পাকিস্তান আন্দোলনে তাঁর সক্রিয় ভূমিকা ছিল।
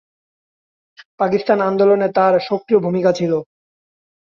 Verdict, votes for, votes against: accepted, 2, 0